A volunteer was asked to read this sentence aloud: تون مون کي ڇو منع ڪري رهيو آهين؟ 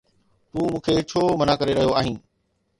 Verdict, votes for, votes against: accepted, 2, 0